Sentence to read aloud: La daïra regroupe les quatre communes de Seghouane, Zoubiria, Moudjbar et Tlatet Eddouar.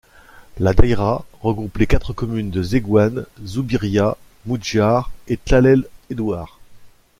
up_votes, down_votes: 0, 2